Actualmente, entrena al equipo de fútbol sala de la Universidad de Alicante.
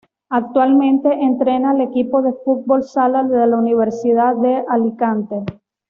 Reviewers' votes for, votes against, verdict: 2, 0, accepted